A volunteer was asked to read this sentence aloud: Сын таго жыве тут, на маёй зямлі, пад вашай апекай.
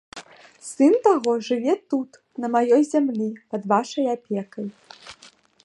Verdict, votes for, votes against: accepted, 2, 0